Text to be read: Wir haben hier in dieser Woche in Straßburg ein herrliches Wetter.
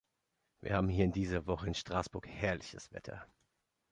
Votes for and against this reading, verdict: 0, 2, rejected